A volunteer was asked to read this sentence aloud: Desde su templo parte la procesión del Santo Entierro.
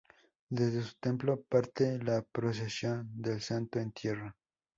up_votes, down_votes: 2, 0